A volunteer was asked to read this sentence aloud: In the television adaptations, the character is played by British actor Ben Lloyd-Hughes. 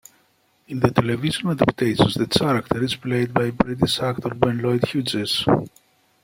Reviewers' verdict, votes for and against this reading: rejected, 0, 2